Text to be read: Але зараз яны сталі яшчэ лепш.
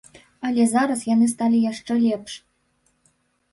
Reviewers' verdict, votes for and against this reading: accepted, 2, 0